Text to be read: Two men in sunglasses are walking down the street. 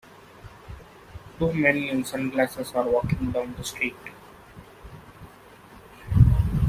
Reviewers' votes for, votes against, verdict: 1, 2, rejected